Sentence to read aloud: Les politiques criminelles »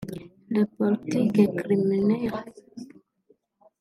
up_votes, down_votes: 1, 2